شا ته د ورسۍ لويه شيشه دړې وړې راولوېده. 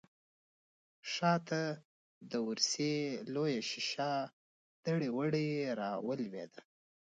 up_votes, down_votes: 0, 2